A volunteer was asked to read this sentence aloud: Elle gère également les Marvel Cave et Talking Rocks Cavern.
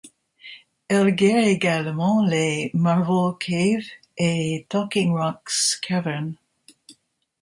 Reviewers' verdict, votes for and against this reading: rejected, 0, 2